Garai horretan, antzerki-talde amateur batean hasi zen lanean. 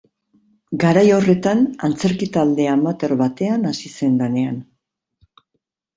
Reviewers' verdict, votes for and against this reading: accepted, 2, 1